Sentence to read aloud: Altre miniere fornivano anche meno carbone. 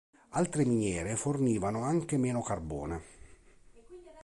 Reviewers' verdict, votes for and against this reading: accepted, 2, 0